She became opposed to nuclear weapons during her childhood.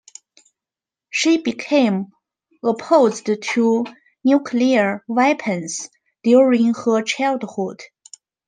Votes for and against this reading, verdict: 2, 1, accepted